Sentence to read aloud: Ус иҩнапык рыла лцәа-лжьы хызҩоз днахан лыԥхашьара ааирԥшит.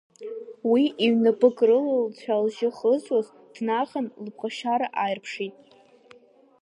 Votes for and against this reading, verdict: 0, 2, rejected